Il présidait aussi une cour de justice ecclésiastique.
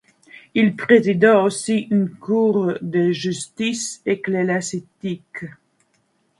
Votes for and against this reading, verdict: 1, 2, rejected